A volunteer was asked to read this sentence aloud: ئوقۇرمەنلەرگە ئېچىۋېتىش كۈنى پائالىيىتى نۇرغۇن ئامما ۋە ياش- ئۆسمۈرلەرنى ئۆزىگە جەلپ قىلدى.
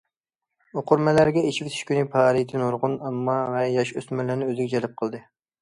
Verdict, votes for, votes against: accepted, 2, 0